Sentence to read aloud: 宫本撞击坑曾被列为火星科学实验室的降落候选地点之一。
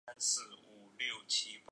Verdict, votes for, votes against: rejected, 0, 2